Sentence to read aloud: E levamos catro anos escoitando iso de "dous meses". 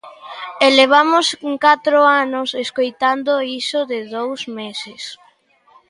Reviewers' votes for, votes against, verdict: 2, 1, accepted